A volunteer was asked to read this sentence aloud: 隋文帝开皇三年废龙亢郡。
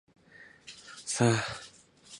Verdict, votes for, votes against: rejected, 0, 2